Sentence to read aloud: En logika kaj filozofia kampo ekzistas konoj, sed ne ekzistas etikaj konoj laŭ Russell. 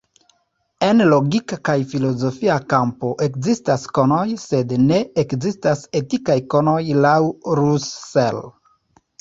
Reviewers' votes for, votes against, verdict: 2, 0, accepted